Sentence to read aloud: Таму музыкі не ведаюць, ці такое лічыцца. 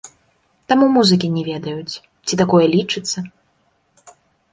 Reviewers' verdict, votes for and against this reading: rejected, 1, 2